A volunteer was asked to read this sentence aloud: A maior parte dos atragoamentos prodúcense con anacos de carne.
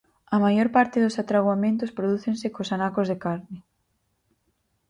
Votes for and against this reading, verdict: 2, 4, rejected